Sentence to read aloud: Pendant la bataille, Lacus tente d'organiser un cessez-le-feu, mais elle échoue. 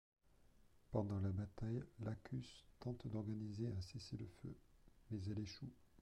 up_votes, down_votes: 2, 0